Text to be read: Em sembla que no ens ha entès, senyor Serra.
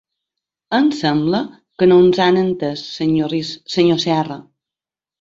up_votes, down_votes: 0, 2